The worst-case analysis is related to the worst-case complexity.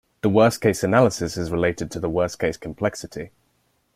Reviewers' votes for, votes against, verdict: 2, 0, accepted